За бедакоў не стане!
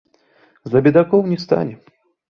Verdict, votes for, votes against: rejected, 1, 2